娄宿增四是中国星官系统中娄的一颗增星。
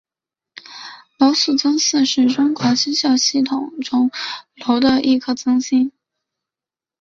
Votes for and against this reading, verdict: 3, 2, accepted